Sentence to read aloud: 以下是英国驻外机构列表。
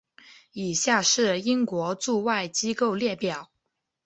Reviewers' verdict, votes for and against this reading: accepted, 5, 0